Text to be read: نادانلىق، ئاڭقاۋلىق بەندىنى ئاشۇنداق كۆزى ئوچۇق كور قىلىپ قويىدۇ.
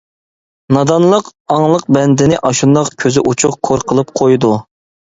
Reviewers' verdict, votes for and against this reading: rejected, 0, 2